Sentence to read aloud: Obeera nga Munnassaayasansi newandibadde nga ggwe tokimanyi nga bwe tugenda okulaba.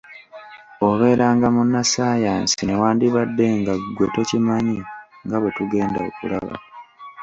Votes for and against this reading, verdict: 2, 1, accepted